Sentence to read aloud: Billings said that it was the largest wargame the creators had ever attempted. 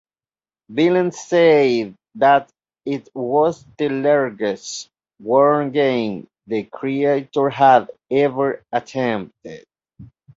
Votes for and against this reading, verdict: 0, 2, rejected